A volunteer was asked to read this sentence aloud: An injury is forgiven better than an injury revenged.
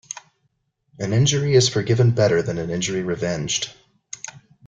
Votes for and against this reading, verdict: 2, 0, accepted